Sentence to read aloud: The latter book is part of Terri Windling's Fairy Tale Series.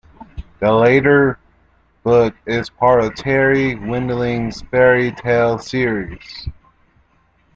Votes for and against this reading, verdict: 0, 2, rejected